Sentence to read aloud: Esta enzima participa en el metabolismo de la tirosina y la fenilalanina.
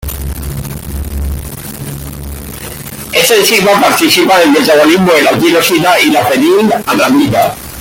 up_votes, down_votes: 0, 2